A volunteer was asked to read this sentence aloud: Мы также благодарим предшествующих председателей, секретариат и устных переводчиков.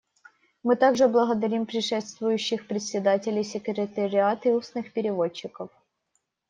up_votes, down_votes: 2, 0